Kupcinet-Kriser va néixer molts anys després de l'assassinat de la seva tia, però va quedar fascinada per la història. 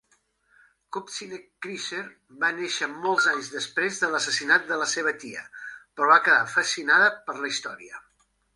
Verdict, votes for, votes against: accepted, 2, 1